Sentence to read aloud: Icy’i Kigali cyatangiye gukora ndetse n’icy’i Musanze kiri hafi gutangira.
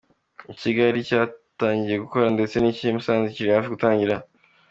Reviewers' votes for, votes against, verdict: 2, 0, accepted